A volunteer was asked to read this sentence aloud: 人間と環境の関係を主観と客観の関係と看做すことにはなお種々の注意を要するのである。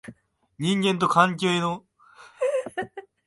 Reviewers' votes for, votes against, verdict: 1, 2, rejected